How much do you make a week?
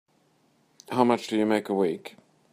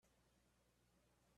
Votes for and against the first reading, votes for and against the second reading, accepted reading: 2, 0, 0, 2, first